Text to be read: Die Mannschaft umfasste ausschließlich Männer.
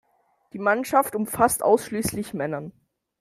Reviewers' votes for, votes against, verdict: 0, 2, rejected